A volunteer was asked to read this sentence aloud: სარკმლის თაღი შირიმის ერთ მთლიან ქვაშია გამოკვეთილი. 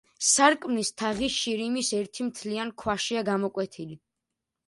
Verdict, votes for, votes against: rejected, 1, 2